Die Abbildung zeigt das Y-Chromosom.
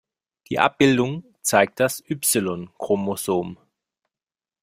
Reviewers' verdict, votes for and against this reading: accepted, 2, 0